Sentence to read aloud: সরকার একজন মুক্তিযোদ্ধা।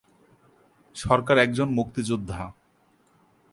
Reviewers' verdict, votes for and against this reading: accepted, 2, 0